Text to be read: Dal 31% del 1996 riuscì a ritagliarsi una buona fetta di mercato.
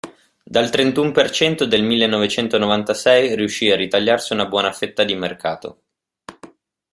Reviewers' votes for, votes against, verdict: 0, 2, rejected